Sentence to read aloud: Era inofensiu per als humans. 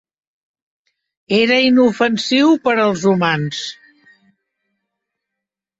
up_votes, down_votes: 3, 0